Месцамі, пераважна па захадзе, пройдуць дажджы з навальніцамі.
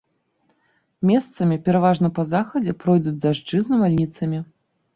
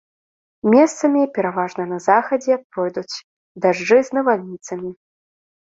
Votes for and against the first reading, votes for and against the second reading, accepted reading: 2, 0, 1, 2, first